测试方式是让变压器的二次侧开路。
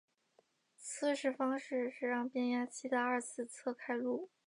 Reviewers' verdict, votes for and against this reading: accepted, 2, 0